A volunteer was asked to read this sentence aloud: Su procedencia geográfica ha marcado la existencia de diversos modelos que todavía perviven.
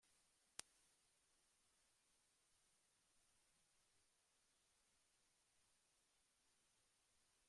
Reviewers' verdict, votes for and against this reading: rejected, 0, 2